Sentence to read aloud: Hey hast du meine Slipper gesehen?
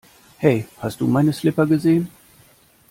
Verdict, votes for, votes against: rejected, 0, 2